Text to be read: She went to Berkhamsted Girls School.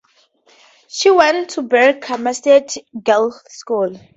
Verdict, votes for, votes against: rejected, 0, 2